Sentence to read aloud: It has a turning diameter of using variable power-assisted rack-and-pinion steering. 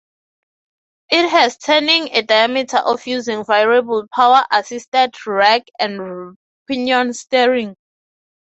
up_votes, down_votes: 0, 6